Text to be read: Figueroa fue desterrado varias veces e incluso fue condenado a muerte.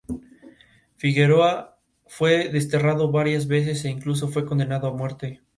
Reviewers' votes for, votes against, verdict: 2, 0, accepted